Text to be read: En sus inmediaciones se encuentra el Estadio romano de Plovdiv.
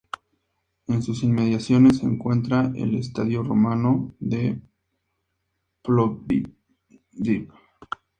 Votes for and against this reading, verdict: 2, 0, accepted